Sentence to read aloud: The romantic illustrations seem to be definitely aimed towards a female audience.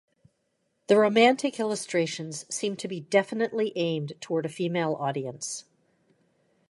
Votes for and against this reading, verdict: 0, 2, rejected